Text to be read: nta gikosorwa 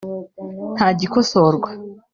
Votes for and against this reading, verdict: 3, 0, accepted